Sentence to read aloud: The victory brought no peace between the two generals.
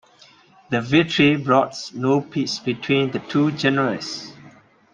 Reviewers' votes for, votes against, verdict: 2, 0, accepted